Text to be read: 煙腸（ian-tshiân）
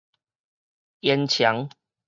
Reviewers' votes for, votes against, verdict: 4, 0, accepted